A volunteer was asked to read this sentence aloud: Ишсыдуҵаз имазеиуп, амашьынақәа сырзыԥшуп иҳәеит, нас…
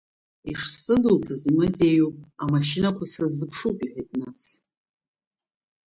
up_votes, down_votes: 4, 2